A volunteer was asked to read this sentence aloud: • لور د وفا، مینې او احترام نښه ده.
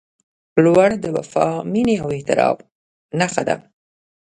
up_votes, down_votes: 1, 2